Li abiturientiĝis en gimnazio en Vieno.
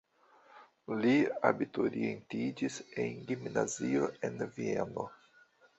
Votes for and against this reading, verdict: 2, 1, accepted